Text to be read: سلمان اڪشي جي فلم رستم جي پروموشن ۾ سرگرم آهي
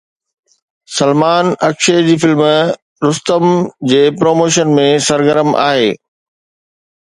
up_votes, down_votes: 2, 0